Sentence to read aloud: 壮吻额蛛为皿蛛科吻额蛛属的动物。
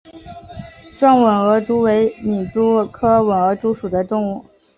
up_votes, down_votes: 2, 0